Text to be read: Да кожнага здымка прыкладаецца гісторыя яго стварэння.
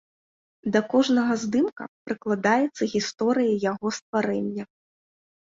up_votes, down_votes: 2, 0